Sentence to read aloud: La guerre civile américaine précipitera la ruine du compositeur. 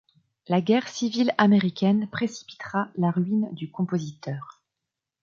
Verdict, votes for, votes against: accepted, 2, 0